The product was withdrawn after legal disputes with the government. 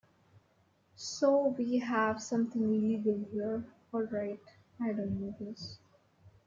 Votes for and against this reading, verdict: 0, 2, rejected